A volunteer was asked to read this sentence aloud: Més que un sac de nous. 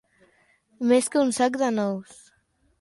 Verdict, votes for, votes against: accepted, 2, 0